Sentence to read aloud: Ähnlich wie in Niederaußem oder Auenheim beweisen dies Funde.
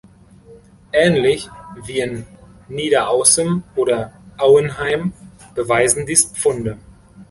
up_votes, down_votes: 2, 0